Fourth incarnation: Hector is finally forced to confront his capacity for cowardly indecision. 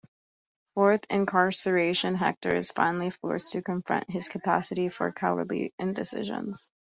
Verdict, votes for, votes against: rejected, 0, 3